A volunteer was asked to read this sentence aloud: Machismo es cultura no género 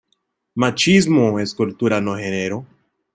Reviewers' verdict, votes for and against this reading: accepted, 2, 0